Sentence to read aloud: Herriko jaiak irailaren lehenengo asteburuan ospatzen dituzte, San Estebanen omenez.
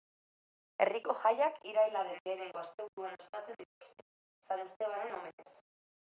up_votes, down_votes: 0, 2